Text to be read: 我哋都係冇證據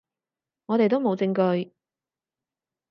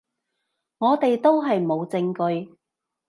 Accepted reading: second